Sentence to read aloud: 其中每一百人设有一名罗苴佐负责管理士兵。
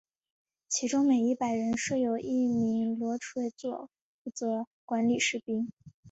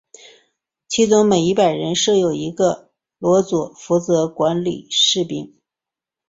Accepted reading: first